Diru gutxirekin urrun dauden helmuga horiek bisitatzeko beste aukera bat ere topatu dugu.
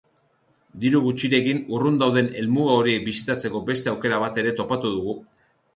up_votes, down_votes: 3, 0